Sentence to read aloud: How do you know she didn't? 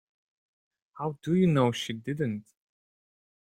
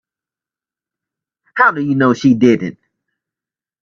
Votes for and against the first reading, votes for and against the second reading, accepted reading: 2, 0, 0, 2, first